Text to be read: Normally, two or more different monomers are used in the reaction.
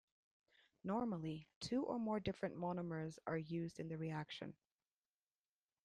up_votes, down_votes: 2, 0